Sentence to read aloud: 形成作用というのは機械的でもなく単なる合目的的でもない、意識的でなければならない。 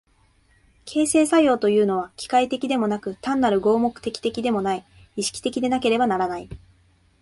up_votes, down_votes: 2, 0